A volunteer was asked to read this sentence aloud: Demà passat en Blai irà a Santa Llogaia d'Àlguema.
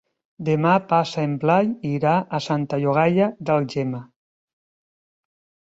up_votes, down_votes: 0, 3